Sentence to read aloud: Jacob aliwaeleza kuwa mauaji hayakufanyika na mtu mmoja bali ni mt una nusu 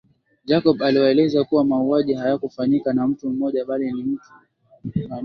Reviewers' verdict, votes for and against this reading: rejected, 1, 2